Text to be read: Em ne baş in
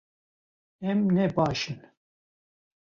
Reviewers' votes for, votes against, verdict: 2, 0, accepted